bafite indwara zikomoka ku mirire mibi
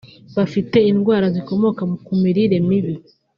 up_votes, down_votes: 0, 2